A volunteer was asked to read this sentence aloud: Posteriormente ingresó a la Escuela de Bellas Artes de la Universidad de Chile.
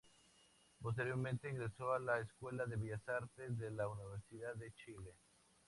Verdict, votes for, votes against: accepted, 2, 0